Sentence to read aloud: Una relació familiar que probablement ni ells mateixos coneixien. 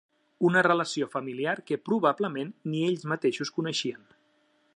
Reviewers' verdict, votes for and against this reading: accepted, 3, 0